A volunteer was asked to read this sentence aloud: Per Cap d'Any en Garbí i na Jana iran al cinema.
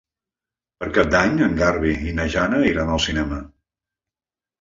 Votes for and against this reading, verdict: 0, 2, rejected